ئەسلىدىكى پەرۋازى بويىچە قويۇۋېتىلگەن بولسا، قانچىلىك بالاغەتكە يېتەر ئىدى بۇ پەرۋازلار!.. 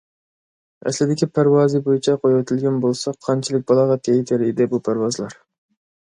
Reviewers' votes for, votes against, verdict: 2, 0, accepted